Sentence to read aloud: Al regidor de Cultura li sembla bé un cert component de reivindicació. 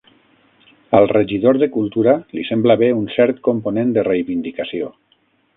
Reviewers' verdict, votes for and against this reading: accepted, 6, 0